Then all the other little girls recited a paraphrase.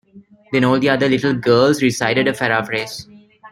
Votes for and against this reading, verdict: 1, 2, rejected